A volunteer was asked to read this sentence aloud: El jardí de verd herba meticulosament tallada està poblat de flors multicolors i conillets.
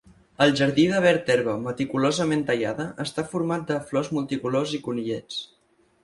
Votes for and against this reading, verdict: 2, 4, rejected